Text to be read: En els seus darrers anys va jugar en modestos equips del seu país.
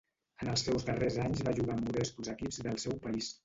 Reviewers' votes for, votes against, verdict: 1, 2, rejected